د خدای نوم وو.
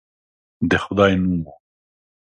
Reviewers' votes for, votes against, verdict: 2, 0, accepted